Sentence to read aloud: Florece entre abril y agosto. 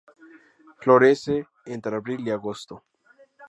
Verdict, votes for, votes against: accepted, 4, 0